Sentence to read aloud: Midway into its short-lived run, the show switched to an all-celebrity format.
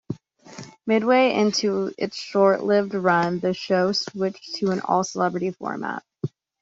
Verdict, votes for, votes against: accepted, 2, 0